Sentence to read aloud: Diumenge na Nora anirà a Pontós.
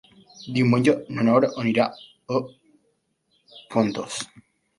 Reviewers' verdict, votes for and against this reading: rejected, 1, 2